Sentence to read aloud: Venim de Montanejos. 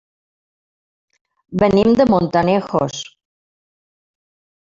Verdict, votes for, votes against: rejected, 0, 2